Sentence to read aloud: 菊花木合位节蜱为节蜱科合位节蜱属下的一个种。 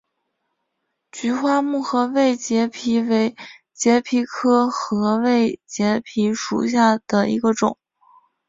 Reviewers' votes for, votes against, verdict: 6, 1, accepted